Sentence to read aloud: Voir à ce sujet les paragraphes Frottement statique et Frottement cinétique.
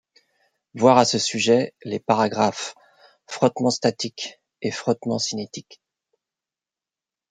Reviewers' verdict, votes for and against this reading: accepted, 2, 0